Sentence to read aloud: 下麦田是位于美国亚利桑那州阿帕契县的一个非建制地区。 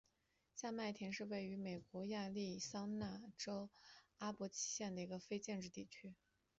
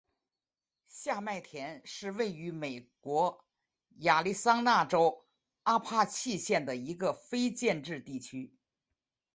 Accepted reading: second